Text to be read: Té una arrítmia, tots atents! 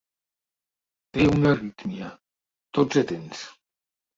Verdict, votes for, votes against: accepted, 2, 0